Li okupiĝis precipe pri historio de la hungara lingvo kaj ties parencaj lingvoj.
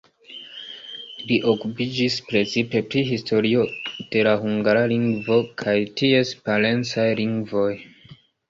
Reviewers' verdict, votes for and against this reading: accepted, 2, 0